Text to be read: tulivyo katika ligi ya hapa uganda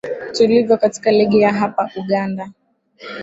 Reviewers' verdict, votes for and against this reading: accepted, 2, 1